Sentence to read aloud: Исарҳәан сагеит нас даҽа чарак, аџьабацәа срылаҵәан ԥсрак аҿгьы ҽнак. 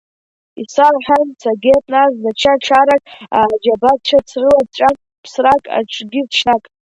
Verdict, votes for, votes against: rejected, 0, 2